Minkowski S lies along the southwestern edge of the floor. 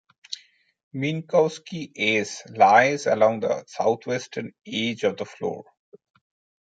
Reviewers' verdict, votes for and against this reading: rejected, 0, 2